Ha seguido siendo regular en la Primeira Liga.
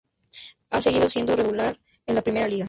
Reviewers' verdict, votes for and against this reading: rejected, 0, 2